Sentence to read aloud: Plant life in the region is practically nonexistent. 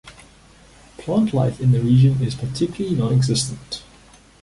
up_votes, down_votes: 0, 2